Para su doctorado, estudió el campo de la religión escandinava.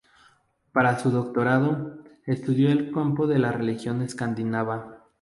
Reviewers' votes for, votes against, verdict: 2, 0, accepted